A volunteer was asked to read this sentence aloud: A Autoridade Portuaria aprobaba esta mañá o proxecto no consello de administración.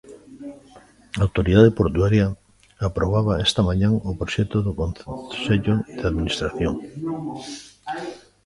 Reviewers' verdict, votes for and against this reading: rejected, 0, 2